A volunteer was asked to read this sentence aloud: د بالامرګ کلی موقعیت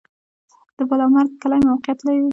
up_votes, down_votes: 0, 2